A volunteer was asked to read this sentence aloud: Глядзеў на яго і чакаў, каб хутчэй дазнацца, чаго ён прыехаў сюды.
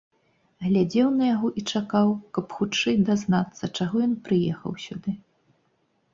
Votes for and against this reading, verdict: 2, 0, accepted